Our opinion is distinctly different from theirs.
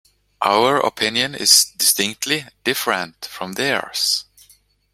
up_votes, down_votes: 2, 1